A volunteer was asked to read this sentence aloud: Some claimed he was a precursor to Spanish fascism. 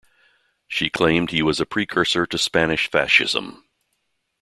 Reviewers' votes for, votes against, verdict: 0, 2, rejected